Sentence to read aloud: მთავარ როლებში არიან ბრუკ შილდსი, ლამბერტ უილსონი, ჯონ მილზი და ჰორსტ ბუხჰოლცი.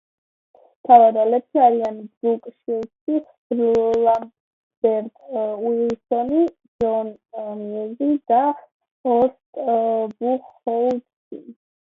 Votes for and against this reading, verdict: 1, 2, rejected